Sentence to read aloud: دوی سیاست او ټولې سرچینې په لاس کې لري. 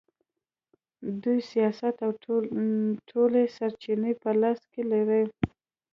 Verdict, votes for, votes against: accepted, 2, 0